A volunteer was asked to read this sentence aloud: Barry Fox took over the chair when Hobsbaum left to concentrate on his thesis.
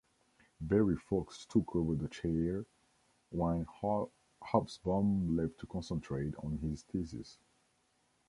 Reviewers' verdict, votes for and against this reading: rejected, 1, 2